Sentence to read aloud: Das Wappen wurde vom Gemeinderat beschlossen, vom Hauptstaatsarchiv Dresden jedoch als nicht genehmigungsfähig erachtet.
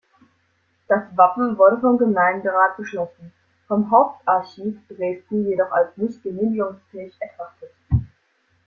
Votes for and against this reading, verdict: 0, 2, rejected